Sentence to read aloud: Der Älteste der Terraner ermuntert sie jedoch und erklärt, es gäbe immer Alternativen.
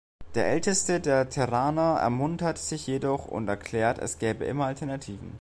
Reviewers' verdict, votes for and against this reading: rejected, 1, 2